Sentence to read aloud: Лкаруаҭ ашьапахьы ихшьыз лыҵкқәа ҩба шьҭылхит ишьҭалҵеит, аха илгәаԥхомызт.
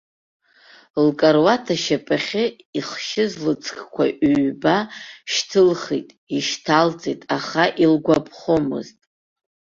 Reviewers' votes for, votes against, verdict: 2, 0, accepted